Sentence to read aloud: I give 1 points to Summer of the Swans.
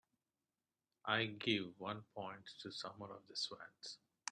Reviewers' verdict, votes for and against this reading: rejected, 0, 2